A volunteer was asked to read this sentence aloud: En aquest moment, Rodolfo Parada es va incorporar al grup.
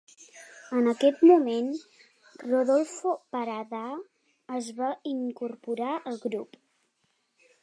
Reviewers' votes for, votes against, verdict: 3, 0, accepted